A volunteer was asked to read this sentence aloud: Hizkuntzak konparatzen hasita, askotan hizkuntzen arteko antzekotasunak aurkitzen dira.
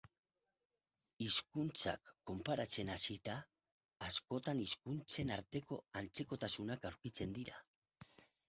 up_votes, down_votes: 4, 0